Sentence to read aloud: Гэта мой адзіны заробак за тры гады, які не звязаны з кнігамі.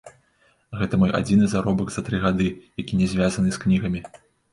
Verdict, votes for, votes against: rejected, 0, 2